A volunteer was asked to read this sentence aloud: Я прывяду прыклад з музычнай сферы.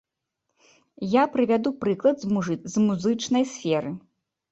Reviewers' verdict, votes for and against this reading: rejected, 0, 2